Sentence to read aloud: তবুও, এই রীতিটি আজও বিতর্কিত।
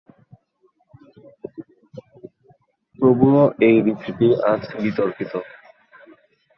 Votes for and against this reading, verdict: 2, 4, rejected